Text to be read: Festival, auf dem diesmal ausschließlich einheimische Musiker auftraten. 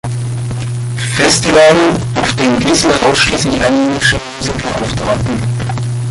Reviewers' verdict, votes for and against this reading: rejected, 1, 2